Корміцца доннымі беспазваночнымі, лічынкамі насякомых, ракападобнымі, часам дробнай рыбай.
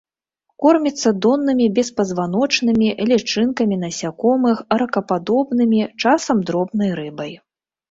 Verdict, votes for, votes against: accepted, 2, 0